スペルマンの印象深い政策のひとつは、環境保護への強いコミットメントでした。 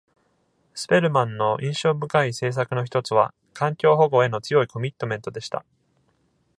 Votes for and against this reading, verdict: 2, 0, accepted